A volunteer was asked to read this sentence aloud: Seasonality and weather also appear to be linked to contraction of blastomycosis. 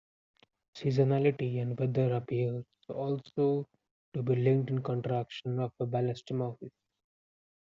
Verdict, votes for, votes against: rejected, 0, 2